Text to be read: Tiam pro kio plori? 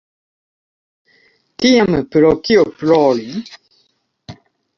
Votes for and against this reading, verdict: 2, 0, accepted